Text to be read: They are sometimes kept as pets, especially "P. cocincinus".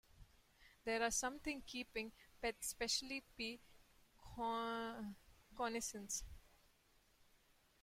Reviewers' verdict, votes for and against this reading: rejected, 0, 2